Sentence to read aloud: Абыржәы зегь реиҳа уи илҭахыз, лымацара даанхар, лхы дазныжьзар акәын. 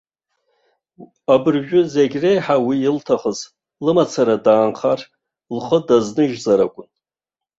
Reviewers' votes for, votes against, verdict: 2, 1, accepted